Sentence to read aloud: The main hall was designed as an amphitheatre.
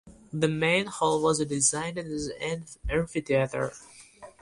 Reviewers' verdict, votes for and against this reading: rejected, 0, 2